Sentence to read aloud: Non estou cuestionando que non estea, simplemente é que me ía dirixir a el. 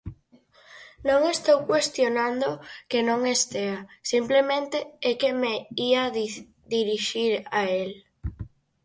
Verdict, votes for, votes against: rejected, 0, 4